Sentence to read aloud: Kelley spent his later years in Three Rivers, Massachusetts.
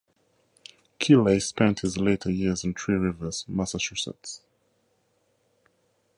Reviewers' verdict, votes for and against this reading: rejected, 2, 2